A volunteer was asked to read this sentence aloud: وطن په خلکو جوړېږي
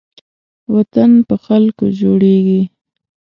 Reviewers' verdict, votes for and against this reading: accepted, 2, 0